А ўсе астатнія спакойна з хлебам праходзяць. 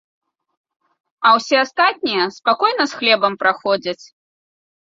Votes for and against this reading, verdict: 2, 0, accepted